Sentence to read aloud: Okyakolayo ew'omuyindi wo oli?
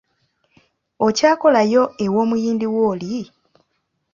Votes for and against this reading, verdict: 2, 0, accepted